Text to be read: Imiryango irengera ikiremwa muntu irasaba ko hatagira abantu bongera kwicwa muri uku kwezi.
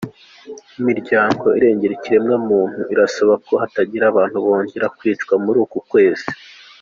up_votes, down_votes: 2, 0